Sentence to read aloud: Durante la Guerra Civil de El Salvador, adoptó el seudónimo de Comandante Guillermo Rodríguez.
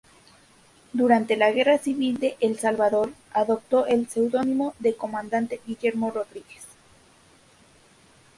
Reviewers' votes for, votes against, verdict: 2, 0, accepted